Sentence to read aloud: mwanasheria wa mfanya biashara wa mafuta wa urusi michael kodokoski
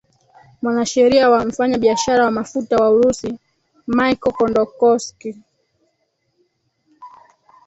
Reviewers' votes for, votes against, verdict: 1, 3, rejected